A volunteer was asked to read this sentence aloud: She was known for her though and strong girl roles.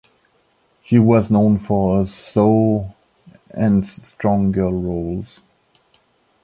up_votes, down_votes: 0, 2